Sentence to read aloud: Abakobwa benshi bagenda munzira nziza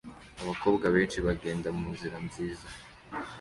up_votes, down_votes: 2, 0